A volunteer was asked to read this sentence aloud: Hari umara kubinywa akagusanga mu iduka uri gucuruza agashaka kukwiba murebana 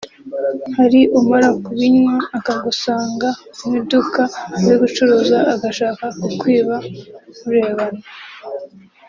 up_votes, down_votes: 2, 0